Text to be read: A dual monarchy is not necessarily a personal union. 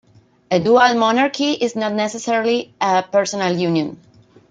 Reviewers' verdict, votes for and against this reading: accepted, 2, 0